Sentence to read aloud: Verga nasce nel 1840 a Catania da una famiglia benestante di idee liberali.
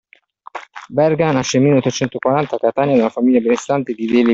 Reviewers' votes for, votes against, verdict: 0, 2, rejected